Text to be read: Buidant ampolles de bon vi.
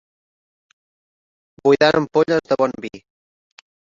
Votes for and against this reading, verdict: 1, 2, rejected